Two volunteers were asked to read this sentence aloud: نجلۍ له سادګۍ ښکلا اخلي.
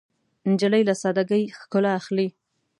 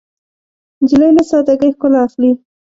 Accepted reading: first